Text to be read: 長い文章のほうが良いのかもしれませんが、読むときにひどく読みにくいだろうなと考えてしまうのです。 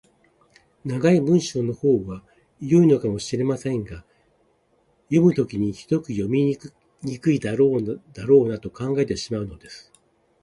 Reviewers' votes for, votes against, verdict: 1, 2, rejected